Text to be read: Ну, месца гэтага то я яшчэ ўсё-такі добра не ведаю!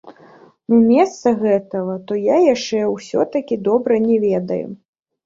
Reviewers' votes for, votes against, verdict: 2, 0, accepted